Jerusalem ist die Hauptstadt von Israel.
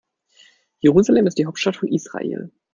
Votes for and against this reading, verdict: 2, 0, accepted